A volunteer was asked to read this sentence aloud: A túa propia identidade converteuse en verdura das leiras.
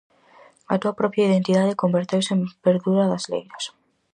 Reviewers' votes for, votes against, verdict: 4, 0, accepted